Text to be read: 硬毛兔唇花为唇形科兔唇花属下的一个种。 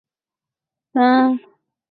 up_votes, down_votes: 0, 2